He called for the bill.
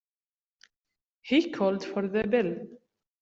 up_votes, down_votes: 2, 0